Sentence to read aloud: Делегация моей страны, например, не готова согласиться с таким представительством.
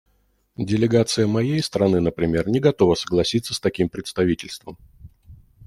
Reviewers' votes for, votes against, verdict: 2, 0, accepted